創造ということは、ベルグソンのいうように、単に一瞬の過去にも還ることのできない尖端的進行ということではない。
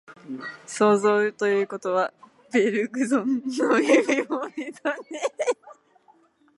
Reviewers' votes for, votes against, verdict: 0, 4, rejected